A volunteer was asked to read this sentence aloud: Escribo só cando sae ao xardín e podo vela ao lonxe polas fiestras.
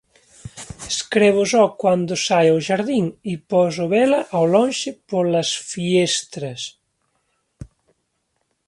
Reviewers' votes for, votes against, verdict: 2, 1, accepted